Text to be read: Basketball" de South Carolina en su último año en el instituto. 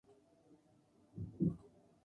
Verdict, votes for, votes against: rejected, 0, 4